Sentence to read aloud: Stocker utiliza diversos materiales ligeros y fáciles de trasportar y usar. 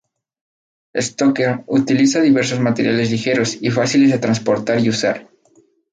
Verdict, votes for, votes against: accepted, 4, 0